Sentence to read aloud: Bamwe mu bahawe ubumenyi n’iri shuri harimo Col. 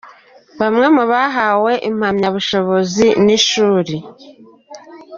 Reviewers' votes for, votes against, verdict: 1, 3, rejected